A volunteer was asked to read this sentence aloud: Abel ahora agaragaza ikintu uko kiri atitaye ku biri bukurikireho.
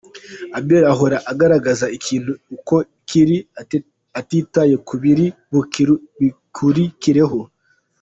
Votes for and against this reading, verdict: 1, 2, rejected